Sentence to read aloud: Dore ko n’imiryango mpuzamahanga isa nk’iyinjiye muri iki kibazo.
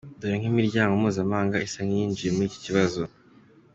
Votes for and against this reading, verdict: 2, 1, accepted